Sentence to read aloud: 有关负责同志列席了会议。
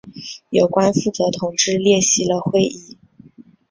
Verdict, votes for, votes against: accepted, 3, 0